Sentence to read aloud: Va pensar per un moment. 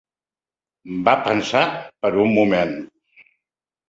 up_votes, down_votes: 5, 0